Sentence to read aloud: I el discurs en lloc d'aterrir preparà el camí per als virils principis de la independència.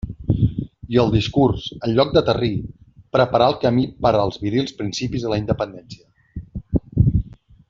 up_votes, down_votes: 2, 1